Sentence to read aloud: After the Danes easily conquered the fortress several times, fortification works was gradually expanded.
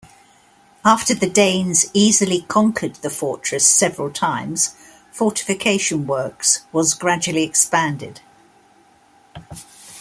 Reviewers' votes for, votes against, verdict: 2, 0, accepted